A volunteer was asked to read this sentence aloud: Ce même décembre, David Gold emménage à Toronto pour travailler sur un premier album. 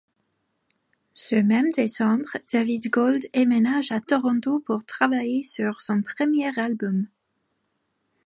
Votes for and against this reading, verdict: 1, 2, rejected